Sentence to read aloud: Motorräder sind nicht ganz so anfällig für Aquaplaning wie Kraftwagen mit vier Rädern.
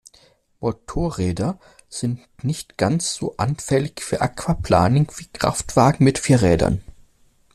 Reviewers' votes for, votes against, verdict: 2, 0, accepted